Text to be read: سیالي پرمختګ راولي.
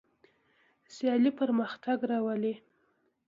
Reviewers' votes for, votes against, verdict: 2, 0, accepted